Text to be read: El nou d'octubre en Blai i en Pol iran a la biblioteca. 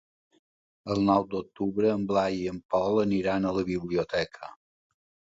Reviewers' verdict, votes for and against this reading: rejected, 1, 2